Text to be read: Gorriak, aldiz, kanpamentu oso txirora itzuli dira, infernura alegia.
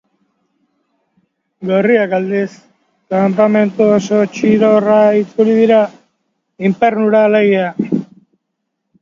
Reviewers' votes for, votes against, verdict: 1, 2, rejected